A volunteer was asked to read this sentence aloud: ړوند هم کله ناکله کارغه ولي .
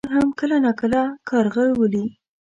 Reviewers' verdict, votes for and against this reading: rejected, 1, 2